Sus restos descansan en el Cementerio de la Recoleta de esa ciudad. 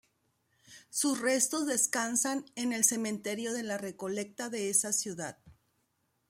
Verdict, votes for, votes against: rejected, 0, 2